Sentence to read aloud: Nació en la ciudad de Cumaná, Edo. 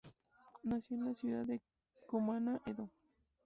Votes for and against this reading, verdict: 0, 2, rejected